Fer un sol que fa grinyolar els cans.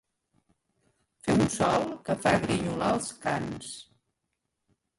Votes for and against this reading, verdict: 1, 2, rejected